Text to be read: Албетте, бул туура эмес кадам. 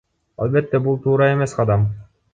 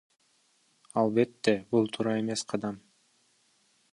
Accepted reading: first